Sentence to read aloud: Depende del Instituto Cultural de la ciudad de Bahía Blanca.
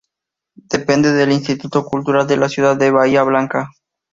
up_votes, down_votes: 2, 0